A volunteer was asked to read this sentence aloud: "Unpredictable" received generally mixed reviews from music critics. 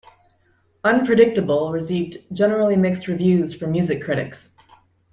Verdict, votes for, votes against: accepted, 2, 0